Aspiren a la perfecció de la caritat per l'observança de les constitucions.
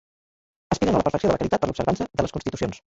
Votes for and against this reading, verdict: 1, 2, rejected